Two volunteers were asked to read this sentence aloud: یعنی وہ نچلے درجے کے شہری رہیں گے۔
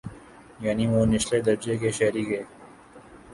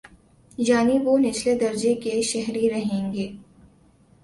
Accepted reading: second